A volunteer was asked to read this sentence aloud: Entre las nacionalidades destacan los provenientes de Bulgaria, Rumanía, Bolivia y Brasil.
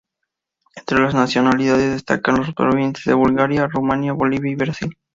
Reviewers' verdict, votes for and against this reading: accepted, 2, 0